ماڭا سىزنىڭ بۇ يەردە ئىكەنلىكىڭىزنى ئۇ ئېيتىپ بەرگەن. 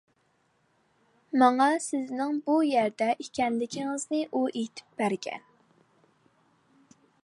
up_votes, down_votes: 2, 0